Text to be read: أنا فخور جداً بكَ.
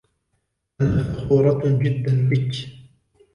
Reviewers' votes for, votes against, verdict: 1, 2, rejected